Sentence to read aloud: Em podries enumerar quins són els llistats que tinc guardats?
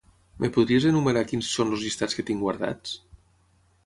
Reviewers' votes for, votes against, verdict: 3, 3, rejected